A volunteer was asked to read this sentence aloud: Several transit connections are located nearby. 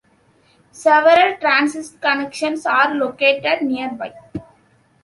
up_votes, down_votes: 0, 2